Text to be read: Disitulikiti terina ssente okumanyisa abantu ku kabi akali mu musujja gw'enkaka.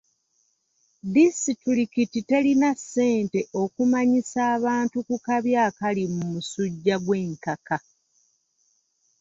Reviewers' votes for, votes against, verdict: 2, 0, accepted